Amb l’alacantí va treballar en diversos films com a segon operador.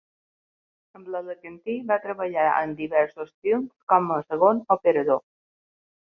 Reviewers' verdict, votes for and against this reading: rejected, 1, 2